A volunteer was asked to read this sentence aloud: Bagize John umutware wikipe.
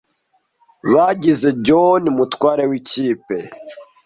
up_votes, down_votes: 2, 0